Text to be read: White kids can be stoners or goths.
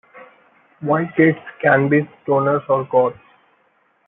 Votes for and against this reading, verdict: 0, 2, rejected